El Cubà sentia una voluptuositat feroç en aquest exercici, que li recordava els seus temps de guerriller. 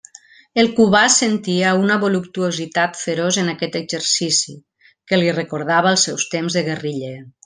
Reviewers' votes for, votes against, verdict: 2, 0, accepted